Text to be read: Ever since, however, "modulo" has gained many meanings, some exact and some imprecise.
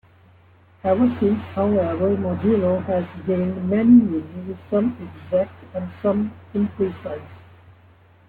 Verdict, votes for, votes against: rejected, 0, 2